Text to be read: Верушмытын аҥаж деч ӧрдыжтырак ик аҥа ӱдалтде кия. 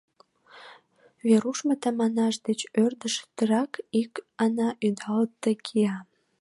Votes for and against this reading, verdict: 0, 2, rejected